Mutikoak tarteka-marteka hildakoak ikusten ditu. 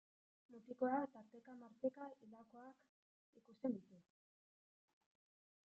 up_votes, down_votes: 0, 2